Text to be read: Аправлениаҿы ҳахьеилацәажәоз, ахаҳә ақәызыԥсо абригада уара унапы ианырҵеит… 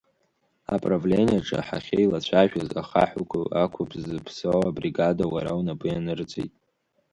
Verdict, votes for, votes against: rejected, 0, 3